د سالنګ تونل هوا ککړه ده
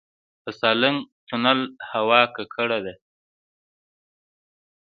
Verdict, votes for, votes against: accepted, 2, 0